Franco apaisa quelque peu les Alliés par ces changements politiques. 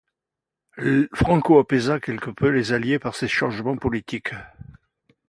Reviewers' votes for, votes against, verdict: 1, 2, rejected